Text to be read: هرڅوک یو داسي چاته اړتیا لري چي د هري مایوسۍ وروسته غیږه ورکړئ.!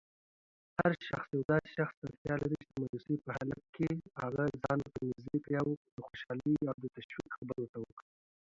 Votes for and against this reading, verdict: 0, 2, rejected